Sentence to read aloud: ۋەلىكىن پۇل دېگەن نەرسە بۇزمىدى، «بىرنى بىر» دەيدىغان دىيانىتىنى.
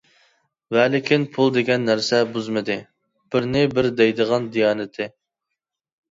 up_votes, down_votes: 0, 2